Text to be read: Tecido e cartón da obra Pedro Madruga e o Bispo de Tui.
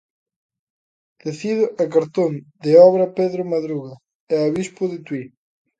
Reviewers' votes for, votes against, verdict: 0, 2, rejected